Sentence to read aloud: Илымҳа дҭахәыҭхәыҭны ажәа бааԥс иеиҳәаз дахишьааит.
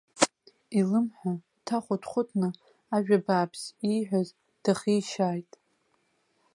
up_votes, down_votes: 0, 2